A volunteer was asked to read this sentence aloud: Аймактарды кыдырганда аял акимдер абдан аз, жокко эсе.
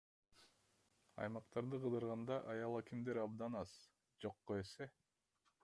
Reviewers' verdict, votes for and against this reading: rejected, 1, 2